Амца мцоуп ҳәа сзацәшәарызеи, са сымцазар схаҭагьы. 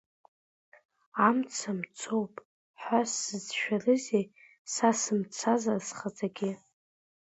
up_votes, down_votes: 2, 1